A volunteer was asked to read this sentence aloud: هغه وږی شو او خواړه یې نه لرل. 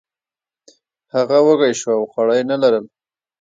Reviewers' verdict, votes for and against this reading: accepted, 2, 0